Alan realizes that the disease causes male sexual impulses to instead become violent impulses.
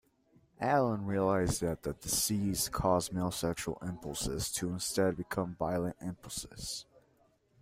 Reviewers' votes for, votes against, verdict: 0, 2, rejected